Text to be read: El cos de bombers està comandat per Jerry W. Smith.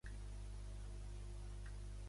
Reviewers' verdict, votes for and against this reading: rejected, 0, 2